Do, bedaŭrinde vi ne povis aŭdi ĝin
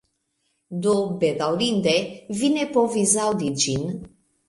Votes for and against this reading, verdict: 2, 0, accepted